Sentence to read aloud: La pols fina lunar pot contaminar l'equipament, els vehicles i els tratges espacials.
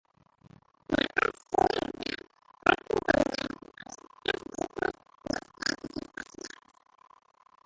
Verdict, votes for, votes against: rejected, 1, 2